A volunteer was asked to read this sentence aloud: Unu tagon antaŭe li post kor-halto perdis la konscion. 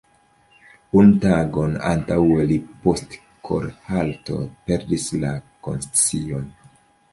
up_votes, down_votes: 2, 0